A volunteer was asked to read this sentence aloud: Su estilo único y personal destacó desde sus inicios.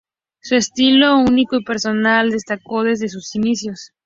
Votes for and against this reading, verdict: 0, 2, rejected